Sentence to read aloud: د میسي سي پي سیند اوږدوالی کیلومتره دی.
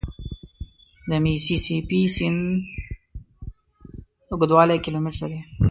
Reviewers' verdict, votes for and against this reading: rejected, 0, 2